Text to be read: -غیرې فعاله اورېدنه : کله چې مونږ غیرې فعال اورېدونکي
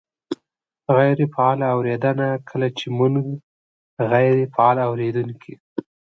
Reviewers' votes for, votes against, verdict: 2, 0, accepted